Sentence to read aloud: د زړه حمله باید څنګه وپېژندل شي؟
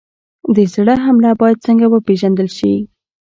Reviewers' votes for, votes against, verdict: 1, 2, rejected